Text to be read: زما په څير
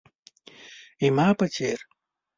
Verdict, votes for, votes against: rejected, 1, 2